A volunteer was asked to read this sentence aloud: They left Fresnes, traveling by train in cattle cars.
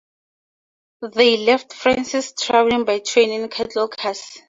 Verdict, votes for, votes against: rejected, 0, 2